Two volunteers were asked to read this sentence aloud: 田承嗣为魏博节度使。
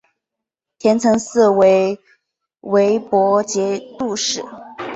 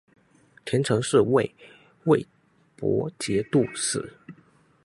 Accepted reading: first